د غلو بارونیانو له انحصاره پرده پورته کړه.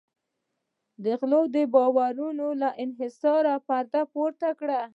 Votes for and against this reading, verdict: 1, 2, rejected